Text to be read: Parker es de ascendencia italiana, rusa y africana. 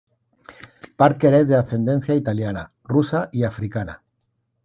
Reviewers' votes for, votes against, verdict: 2, 0, accepted